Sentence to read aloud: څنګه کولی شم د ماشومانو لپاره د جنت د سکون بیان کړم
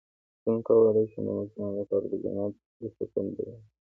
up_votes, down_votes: 2, 1